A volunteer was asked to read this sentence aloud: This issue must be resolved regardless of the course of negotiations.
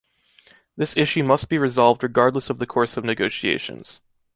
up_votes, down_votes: 3, 0